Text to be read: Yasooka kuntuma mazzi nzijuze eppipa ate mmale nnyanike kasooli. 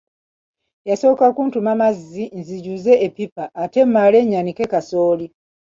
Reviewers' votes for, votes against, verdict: 1, 2, rejected